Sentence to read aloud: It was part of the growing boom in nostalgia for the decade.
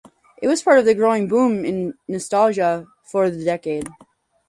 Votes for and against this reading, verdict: 4, 0, accepted